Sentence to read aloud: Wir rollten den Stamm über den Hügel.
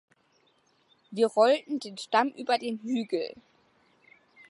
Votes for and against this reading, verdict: 2, 0, accepted